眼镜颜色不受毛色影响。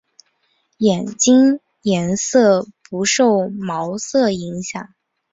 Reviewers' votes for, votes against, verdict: 0, 2, rejected